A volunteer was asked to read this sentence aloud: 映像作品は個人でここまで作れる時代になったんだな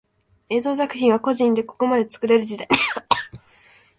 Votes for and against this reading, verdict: 0, 2, rejected